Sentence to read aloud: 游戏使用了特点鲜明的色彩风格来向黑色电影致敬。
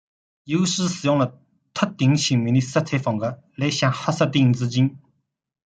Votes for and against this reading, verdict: 1, 2, rejected